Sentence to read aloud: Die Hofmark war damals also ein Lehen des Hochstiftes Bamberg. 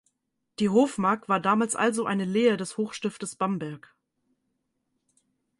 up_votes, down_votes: 0, 4